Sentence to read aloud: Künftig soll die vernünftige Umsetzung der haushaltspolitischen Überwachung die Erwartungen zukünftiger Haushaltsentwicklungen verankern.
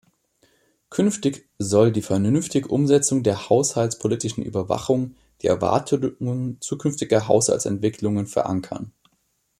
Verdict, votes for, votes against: rejected, 1, 2